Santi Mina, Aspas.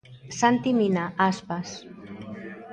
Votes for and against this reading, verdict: 2, 0, accepted